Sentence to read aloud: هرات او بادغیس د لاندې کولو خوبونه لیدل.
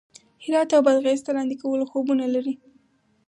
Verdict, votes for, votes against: rejected, 2, 2